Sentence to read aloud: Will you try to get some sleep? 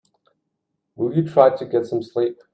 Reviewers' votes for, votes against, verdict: 2, 0, accepted